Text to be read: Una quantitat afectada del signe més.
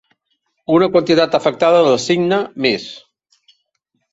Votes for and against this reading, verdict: 2, 0, accepted